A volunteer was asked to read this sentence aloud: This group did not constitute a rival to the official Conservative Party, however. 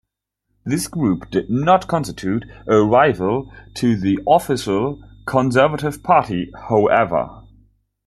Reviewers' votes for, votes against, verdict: 1, 2, rejected